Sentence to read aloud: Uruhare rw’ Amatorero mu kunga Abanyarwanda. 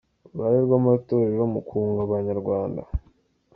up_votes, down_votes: 2, 0